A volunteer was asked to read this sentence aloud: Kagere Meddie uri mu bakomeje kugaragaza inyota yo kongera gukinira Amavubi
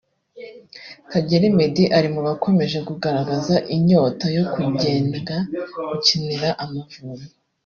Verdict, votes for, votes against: rejected, 1, 2